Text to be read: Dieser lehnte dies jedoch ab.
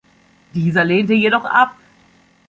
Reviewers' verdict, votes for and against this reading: rejected, 0, 2